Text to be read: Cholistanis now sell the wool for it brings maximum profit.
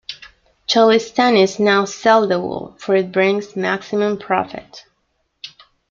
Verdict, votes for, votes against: accepted, 2, 0